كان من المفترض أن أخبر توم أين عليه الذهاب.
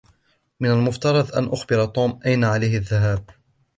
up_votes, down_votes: 1, 2